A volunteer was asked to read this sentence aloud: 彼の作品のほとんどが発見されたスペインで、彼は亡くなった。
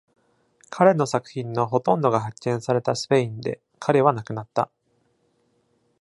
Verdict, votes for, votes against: accepted, 2, 0